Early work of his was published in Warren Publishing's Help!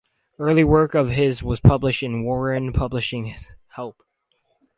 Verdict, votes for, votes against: accepted, 2, 0